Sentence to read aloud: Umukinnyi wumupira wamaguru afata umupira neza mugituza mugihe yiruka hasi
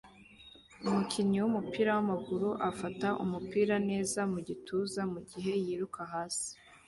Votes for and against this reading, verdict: 2, 0, accepted